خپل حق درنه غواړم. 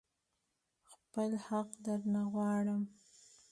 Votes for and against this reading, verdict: 2, 0, accepted